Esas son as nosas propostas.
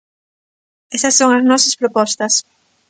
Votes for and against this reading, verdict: 2, 0, accepted